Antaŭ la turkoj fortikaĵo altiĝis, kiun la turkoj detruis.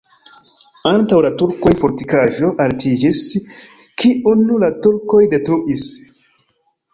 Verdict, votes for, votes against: accepted, 3, 0